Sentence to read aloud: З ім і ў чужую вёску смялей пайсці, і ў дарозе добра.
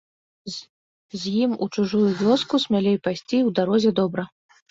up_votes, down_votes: 1, 2